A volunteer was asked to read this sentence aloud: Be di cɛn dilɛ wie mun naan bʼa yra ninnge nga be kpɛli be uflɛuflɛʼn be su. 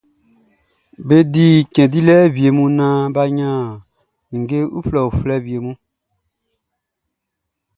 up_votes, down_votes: 2, 0